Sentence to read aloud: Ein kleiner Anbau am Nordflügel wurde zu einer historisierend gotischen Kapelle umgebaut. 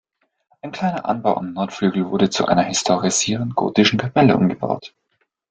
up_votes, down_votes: 2, 0